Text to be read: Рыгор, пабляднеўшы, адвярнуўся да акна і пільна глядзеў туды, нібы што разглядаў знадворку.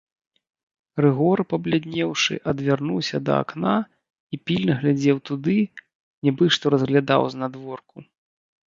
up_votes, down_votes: 2, 0